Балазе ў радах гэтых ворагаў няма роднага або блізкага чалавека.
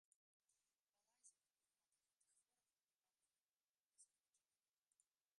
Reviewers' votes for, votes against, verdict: 0, 2, rejected